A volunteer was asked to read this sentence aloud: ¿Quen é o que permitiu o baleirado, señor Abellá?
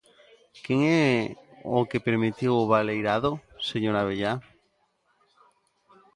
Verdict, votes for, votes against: accepted, 2, 1